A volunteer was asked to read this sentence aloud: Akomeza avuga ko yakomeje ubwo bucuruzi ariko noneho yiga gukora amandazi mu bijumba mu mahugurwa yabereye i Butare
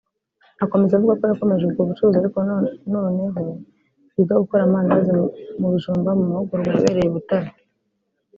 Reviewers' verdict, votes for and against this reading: rejected, 2, 3